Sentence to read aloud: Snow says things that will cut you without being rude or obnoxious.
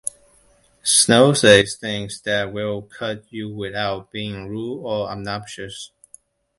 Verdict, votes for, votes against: rejected, 1, 2